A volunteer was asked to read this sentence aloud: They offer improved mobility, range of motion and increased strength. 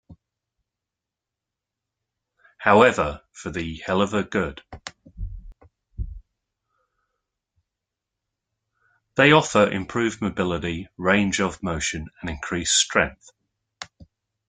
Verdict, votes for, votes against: rejected, 1, 2